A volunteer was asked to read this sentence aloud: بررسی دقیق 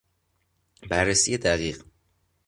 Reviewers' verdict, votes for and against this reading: accepted, 2, 0